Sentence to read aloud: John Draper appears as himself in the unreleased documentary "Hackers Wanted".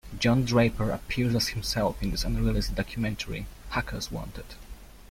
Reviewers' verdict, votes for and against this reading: rejected, 0, 2